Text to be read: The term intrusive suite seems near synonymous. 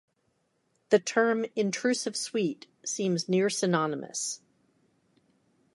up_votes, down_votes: 3, 0